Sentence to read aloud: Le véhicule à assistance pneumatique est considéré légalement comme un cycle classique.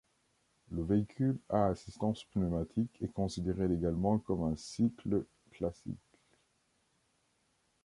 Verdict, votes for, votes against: accepted, 2, 0